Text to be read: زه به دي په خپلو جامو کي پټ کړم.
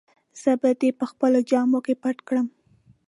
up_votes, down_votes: 3, 0